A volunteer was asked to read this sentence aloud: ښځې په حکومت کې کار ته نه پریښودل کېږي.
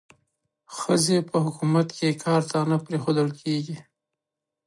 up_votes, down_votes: 2, 0